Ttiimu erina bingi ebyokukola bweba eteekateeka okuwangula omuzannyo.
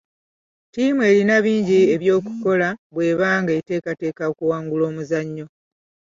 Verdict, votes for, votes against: rejected, 1, 2